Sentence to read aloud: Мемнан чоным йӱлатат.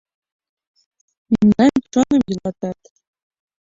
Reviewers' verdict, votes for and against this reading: rejected, 0, 2